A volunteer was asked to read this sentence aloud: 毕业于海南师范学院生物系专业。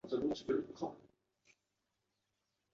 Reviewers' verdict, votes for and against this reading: rejected, 0, 2